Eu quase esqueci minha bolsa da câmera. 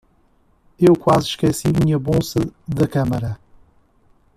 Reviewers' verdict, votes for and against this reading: accepted, 2, 0